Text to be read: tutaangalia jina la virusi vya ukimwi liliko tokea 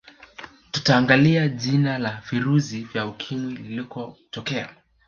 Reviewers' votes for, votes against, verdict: 1, 2, rejected